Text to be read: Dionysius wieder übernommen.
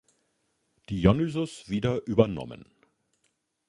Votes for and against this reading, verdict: 2, 0, accepted